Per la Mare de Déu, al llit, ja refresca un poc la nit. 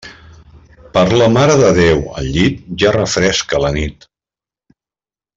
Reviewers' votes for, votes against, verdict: 0, 2, rejected